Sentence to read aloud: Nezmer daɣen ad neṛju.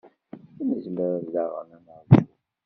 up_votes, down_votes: 1, 2